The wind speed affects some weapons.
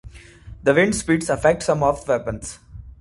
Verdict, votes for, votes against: rejected, 1, 2